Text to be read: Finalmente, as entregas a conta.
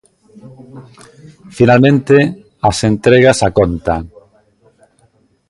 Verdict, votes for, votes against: accepted, 2, 0